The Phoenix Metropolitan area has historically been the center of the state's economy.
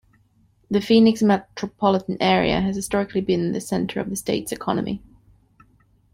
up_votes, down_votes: 2, 0